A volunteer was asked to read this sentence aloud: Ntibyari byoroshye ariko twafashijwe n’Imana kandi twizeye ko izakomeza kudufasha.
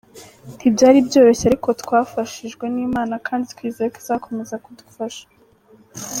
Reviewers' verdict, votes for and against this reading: accepted, 3, 1